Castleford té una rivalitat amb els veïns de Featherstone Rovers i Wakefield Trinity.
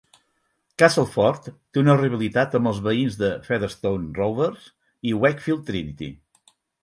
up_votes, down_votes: 4, 0